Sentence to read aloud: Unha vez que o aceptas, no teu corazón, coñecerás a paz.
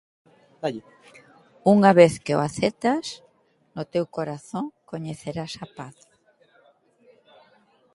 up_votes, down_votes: 0, 2